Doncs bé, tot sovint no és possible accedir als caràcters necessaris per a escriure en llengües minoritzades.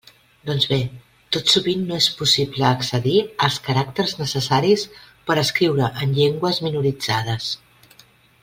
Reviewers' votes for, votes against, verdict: 2, 0, accepted